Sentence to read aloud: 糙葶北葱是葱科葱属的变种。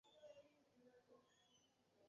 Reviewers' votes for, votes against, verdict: 0, 2, rejected